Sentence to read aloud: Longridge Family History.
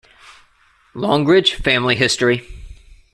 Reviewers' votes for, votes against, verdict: 2, 0, accepted